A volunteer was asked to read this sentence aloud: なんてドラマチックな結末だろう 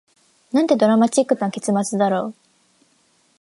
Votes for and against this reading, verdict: 2, 0, accepted